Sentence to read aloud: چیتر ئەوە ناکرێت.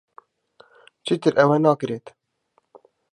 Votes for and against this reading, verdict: 2, 0, accepted